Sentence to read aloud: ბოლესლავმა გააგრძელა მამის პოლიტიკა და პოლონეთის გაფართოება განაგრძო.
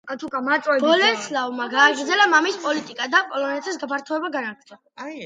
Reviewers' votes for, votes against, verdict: 0, 2, rejected